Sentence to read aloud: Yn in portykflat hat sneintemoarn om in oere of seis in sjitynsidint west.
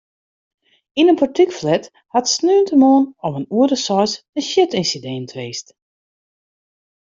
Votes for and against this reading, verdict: 1, 2, rejected